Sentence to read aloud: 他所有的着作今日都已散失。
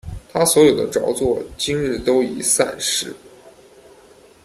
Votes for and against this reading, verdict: 0, 2, rejected